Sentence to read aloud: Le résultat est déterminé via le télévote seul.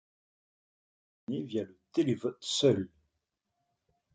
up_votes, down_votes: 0, 2